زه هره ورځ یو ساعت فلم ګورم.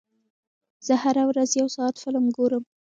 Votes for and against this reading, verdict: 1, 2, rejected